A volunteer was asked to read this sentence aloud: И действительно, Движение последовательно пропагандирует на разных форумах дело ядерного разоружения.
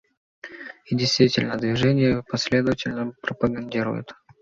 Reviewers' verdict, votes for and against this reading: rejected, 0, 2